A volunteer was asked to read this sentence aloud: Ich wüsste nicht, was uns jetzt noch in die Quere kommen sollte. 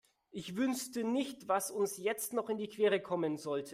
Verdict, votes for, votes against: rejected, 1, 2